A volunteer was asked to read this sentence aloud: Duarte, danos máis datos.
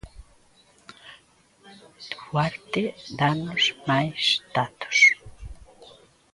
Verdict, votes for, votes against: accepted, 2, 0